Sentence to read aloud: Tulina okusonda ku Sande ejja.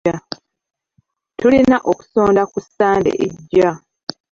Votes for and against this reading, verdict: 1, 2, rejected